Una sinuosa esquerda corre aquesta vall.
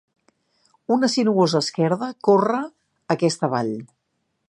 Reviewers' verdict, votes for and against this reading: accepted, 2, 0